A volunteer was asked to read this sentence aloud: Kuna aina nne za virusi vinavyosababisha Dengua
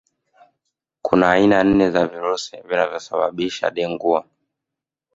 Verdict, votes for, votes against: rejected, 0, 2